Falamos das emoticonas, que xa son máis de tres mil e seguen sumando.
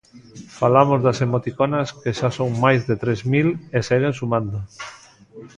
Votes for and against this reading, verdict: 2, 1, accepted